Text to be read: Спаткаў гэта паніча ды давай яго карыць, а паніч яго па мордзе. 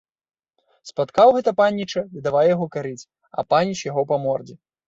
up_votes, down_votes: 1, 2